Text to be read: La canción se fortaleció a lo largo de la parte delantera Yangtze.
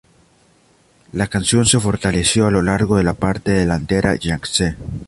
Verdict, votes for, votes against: accepted, 2, 0